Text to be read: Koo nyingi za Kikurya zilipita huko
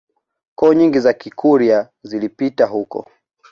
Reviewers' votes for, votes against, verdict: 2, 0, accepted